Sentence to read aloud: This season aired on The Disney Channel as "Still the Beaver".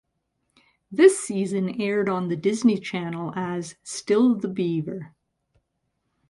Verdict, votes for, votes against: accepted, 2, 0